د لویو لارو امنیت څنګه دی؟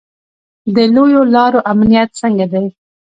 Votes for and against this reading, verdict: 2, 0, accepted